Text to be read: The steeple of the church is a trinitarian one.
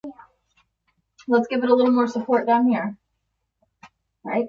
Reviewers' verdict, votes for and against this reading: rejected, 0, 2